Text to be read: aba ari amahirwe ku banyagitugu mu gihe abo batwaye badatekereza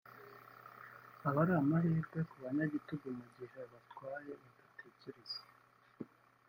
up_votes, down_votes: 0, 3